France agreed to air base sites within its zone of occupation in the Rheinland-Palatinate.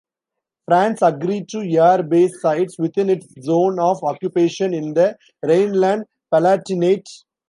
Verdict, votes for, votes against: rejected, 0, 2